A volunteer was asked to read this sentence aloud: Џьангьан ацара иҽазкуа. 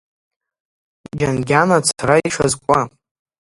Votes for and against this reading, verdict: 0, 2, rejected